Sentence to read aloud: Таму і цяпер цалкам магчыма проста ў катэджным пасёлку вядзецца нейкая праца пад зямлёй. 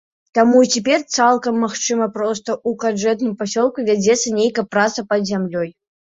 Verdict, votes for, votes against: rejected, 0, 2